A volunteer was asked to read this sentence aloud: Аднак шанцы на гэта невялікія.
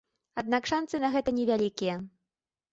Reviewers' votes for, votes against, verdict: 2, 0, accepted